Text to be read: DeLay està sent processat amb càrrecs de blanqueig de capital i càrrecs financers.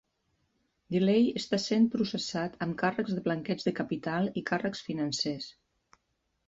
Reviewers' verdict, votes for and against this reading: accepted, 3, 0